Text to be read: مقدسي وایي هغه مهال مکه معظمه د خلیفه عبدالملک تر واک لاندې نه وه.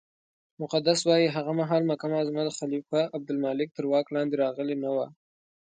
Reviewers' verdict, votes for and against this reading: accepted, 2, 0